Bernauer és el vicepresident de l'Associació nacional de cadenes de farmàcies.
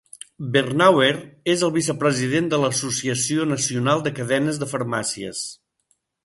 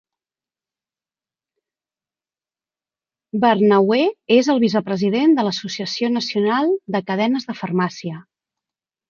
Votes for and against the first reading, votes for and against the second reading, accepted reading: 2, 0, 1, 2, first